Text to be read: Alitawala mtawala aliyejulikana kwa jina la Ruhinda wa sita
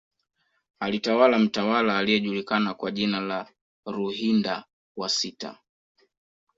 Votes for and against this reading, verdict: 1, 2, rejected